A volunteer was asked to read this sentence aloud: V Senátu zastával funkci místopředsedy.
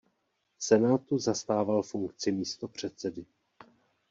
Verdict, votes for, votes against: accepted, 2, 0